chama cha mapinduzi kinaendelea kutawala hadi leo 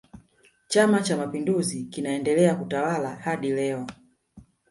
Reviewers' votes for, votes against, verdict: 1, 2, rejected